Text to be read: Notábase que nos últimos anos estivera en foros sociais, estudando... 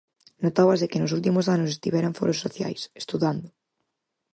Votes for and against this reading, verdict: 4, 0, accepted